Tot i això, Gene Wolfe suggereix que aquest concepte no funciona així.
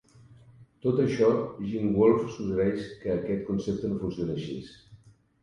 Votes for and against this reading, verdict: 1, 2, rejected